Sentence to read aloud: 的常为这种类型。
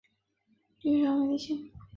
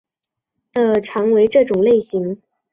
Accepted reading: second